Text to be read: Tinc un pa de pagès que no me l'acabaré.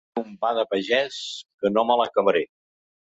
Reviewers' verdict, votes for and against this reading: rejected, 0, 3